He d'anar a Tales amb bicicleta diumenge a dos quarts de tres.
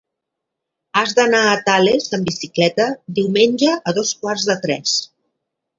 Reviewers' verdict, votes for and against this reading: rejected, 0, 2